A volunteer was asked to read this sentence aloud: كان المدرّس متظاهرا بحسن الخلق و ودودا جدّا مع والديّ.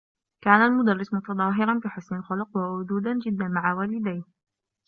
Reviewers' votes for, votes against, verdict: 1, 2, rejected